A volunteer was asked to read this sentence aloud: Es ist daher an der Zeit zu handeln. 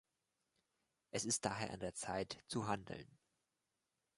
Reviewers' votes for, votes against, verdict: 2, 0, accepted